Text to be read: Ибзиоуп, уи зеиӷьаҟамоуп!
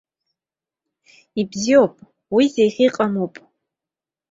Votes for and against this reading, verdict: 2, 1, accepted